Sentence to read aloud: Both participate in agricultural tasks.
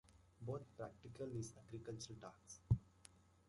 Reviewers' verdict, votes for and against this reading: rejected, 0, 2